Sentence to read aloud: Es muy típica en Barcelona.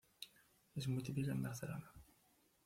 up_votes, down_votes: 0, 2